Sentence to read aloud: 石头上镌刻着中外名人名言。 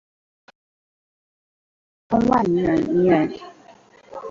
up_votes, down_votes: 0, 2